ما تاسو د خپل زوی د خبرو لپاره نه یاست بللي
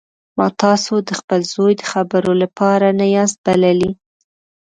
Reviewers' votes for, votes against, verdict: 2, 0, accepted